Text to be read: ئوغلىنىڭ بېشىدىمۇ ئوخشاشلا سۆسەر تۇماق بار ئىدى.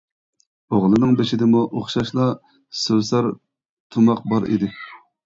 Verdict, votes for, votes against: accepted, 2, 0